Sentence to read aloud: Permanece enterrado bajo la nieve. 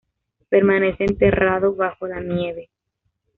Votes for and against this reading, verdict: 1, 2, rejected